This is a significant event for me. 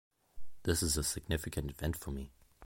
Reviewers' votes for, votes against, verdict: 1, 2, rejected